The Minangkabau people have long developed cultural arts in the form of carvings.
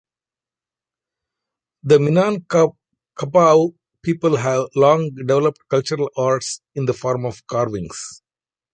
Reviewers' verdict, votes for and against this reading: rejected, 1, 2